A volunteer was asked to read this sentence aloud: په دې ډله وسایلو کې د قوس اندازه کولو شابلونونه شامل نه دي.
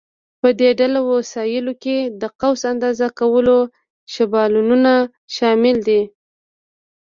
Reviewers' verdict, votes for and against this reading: rejected, 1, 2